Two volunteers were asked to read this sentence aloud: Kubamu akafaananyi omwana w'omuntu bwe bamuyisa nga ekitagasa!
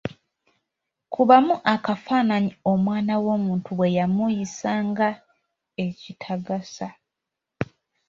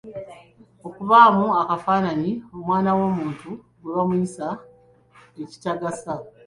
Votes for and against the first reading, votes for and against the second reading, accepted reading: 3, 0, 1, 3, first